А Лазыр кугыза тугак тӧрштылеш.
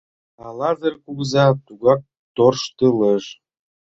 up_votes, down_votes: 0, 2